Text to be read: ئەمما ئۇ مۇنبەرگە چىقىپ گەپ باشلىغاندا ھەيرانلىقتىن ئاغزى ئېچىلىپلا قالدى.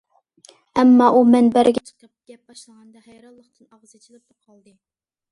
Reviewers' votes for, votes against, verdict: 0, 2, rejected